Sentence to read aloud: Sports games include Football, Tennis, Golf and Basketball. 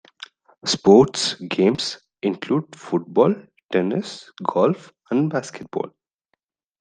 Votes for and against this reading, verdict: 2, 0, accepted